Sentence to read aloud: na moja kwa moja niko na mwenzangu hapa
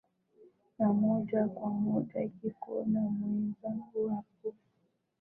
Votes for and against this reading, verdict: 1, 2, rejected